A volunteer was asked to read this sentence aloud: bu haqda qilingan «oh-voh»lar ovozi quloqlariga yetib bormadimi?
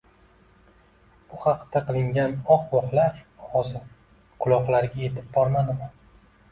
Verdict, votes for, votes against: accepted, 2, 0